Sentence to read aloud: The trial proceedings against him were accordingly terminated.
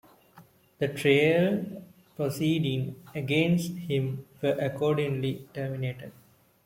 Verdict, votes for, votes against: rejected, 1, 2